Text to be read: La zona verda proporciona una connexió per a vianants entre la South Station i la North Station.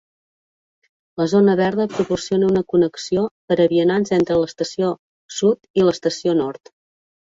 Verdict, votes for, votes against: rejected, 0, 2